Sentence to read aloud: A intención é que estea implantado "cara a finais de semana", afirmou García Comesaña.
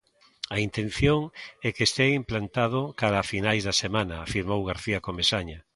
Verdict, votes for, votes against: rejected, 0, 2